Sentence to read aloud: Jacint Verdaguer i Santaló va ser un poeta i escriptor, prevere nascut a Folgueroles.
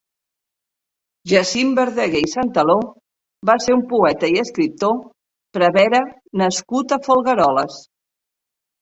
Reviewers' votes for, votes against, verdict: 2, 0, accepted